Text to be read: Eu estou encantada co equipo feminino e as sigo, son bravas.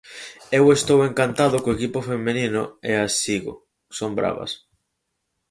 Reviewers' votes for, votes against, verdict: 0, 4, rejected